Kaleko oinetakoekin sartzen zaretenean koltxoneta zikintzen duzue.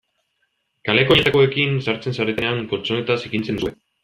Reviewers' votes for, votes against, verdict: 0, 2, rejected